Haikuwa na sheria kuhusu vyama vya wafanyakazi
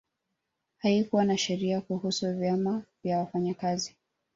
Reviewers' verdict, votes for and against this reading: accepted, 2, 1